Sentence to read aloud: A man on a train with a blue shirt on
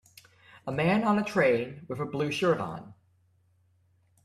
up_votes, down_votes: 2, 0